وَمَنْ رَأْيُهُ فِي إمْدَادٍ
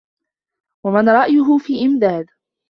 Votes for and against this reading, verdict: 2, 0, accepted